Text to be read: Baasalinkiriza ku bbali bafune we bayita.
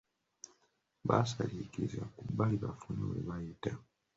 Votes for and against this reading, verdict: 2, 0, accepted